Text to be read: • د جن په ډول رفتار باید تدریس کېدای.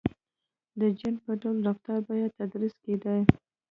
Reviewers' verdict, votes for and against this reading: rejected, 0, 2